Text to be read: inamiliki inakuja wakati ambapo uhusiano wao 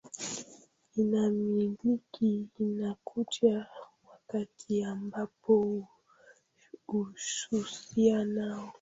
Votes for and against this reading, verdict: 0, 2, rejected